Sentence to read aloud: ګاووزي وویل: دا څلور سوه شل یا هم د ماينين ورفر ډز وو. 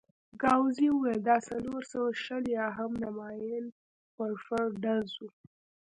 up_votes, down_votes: 2, 0